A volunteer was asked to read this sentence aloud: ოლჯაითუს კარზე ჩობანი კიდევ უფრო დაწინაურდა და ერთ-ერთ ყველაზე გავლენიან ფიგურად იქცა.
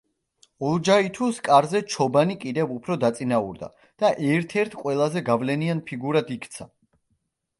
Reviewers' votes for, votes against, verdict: 1, 2, rejected